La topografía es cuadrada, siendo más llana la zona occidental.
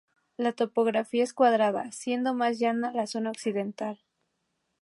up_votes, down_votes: 2, 0